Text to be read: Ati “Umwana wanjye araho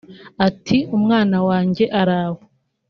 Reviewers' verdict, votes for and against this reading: accepted, 2, 0